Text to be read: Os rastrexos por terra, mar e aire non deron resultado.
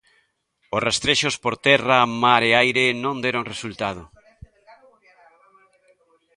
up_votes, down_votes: 1, 2